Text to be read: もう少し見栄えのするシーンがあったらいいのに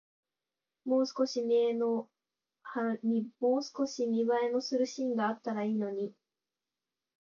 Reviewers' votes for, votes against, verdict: 0, 3, rejected